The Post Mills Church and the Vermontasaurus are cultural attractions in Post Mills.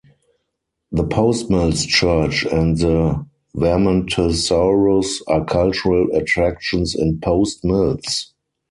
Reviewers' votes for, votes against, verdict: 2, 4, rejected